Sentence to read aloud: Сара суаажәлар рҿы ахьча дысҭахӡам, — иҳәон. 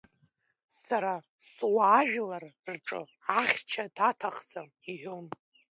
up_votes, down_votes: 0, 2